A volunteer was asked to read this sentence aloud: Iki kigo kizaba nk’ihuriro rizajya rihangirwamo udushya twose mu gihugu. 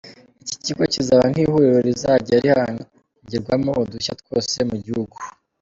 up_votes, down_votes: 1, 2